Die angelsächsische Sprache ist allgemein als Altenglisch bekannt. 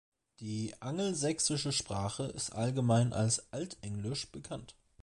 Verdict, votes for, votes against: accepted, 2, 0